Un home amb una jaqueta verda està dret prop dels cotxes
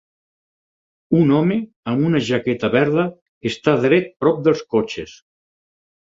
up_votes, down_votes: 4, 0